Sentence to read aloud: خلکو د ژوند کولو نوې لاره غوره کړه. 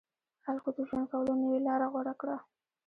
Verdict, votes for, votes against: rejected, 1, 2